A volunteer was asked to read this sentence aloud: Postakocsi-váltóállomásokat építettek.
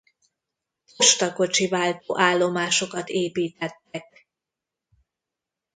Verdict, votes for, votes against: rejected, 0, 2